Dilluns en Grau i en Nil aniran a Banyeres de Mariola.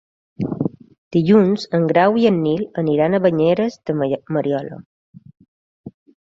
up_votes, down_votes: 0, 2